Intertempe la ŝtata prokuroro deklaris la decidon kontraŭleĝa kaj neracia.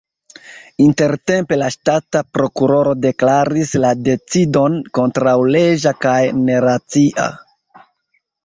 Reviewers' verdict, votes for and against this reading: rejected, 1, 2